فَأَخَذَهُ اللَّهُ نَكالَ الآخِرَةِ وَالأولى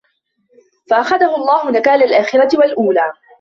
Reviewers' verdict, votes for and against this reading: accepted, 2, 0